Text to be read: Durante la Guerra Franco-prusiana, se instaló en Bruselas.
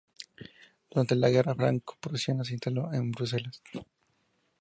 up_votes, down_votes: 4, 0